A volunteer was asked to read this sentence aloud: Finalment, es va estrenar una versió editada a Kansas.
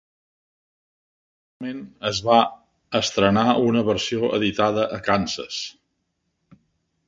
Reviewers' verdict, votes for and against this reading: rejected, 0, 2